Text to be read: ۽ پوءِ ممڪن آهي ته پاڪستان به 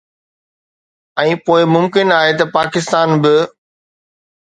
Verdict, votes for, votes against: accepted, 2, 0